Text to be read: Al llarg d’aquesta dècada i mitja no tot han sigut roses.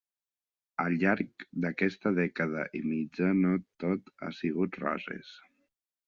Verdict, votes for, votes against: accepted, 2, 0